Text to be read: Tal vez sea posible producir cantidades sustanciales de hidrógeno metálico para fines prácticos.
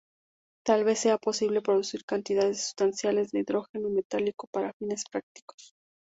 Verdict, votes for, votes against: accepted, 2, 0